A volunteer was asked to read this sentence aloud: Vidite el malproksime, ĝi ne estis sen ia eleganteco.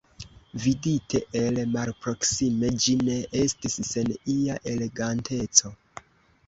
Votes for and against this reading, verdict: 1, 2, rejected